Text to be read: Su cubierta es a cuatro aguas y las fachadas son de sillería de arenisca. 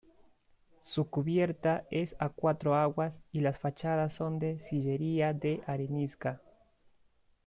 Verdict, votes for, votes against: accepted, 2, 0